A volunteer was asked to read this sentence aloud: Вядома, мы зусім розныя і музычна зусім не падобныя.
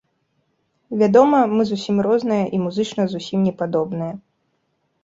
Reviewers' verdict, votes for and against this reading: accepted, 3, 0